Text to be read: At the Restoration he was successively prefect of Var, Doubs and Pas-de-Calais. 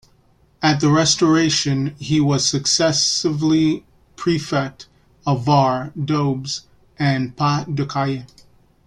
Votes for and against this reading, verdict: 2, 1, accepted